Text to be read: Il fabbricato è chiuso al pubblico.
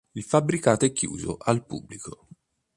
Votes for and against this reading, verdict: 2, 1, accepted